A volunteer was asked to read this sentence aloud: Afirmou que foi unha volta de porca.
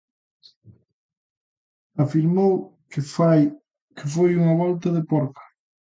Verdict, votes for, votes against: rejected, 0, 2